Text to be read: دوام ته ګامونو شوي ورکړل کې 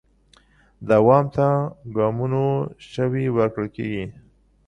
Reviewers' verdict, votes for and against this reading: accepted, 2, 0